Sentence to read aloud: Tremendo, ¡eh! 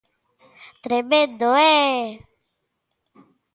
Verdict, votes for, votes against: accepted, 2, 0